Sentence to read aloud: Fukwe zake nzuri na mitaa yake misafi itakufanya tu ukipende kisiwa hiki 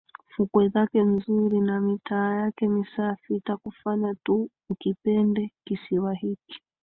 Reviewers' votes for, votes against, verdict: 2, 3, rejected